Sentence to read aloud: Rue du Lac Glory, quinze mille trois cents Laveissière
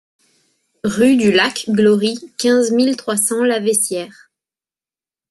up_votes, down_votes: 2, 0